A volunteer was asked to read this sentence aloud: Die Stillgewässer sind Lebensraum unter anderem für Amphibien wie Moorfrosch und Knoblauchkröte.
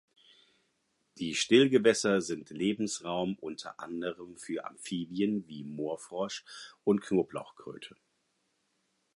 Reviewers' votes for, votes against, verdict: 4, 0, accepted